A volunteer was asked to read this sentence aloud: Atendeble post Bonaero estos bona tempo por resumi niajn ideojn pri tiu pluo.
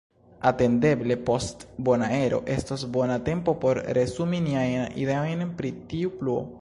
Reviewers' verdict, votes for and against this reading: rejected, 0, 2